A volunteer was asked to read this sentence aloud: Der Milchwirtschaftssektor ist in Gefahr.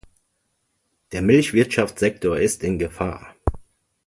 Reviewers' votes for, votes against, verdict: 2, 0, accepted